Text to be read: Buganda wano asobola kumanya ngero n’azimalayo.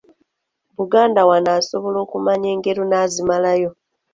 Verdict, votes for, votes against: accepted, 2, 0